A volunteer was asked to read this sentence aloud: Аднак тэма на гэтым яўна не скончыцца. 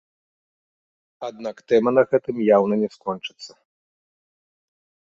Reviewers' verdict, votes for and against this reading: accepted, 2, 0